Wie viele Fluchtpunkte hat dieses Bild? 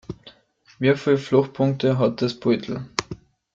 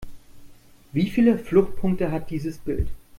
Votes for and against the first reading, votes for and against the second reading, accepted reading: 1, 2, 2, 0, second